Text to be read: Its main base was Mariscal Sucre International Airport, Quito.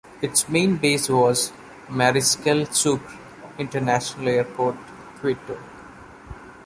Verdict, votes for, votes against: accepted, 2, 0